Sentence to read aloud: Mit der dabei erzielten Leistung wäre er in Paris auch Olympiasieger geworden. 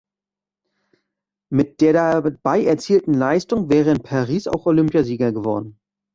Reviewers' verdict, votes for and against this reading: rejected, 1, 2